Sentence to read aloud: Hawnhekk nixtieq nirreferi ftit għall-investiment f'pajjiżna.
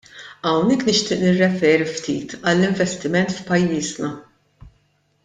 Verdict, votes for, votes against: accepted, 2, 0